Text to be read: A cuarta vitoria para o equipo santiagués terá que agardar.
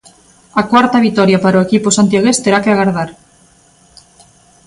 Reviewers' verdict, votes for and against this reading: accepted, 2, 0